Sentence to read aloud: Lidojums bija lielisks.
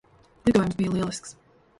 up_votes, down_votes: 1, 2